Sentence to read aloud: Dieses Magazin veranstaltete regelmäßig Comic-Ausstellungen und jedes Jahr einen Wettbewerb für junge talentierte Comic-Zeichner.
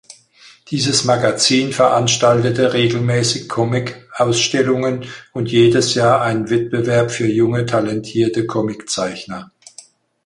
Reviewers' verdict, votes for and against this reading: accepted, 4, 0